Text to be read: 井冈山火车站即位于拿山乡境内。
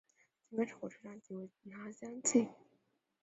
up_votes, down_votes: 0, 3